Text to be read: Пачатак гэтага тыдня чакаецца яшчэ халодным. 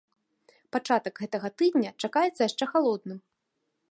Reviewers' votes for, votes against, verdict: 2, 0, accepted